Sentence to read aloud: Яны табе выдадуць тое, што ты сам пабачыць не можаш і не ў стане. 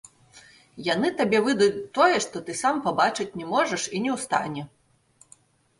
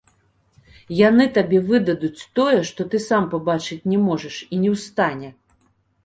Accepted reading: second